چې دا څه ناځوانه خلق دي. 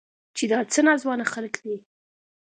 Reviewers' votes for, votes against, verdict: 2, 0, accepted